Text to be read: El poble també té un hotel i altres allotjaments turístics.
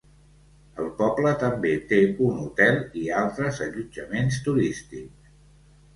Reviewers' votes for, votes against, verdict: 2, 0, accepted